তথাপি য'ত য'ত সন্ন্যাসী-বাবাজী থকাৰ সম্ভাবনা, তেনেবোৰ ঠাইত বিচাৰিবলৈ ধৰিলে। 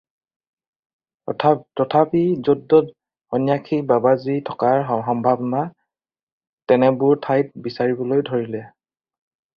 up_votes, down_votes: 0, 4